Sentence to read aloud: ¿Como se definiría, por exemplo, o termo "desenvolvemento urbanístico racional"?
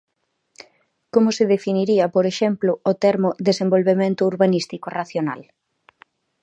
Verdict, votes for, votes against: accepted, 2, 0